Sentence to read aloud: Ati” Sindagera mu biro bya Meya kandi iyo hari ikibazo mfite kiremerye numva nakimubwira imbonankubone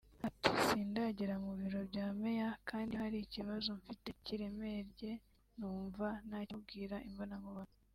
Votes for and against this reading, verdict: 4, 2, accepted